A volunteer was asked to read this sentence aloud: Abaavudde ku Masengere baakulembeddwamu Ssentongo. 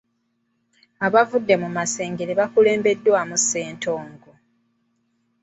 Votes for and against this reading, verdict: 0, 2, rejected